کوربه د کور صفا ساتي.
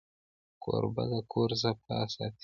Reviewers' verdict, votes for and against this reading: accepted, 2, 0